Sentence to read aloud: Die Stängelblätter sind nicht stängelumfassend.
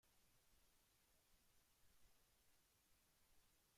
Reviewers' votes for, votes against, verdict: 0, 2, rejected